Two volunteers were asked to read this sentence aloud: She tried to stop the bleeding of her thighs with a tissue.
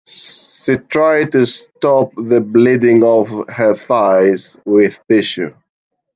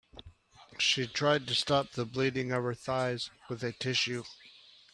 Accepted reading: second